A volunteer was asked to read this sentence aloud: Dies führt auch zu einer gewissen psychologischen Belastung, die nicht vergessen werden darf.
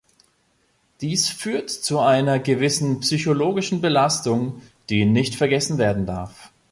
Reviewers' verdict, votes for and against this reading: rejected, 1, 2